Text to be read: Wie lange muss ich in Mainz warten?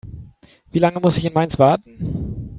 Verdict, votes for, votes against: accepted, 3, 0